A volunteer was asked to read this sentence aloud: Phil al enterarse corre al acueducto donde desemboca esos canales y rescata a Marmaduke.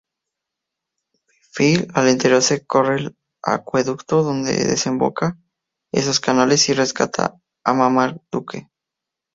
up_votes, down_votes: 2, 0